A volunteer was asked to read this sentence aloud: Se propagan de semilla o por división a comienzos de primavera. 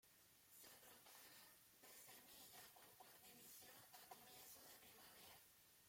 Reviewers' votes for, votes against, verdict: 0, 2, rejected